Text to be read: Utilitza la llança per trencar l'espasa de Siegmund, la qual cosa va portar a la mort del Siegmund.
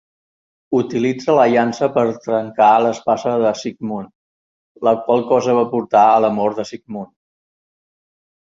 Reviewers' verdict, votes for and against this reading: accepted, 2, 0